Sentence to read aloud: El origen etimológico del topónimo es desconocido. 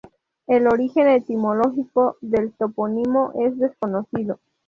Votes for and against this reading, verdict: 0, 2, rejected